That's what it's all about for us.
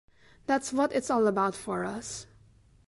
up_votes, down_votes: 2, 0